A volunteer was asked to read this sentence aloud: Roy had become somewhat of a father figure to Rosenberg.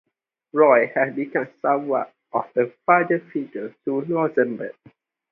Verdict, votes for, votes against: rejected, 0, 2